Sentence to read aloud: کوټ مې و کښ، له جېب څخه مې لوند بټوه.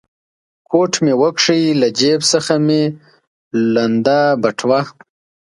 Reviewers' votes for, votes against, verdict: 2, 1, accepted